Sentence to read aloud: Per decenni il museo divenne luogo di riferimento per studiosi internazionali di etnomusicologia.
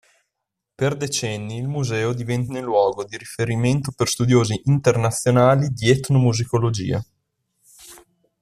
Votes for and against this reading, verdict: 2, 0, accepted